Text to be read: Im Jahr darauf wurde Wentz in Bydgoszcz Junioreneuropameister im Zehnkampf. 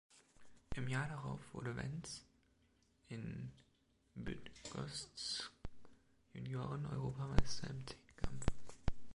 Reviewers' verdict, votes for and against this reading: rejected, 0, 2